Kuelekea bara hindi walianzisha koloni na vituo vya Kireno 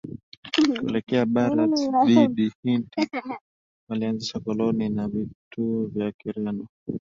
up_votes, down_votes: 0, 2